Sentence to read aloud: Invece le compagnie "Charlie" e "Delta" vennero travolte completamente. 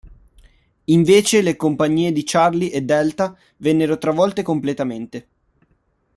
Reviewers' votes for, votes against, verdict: 0, 2, rejected